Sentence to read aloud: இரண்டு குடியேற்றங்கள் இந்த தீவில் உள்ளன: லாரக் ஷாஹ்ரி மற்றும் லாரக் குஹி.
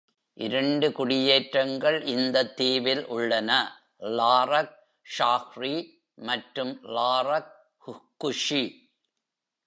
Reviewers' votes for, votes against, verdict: 0, 2, rejected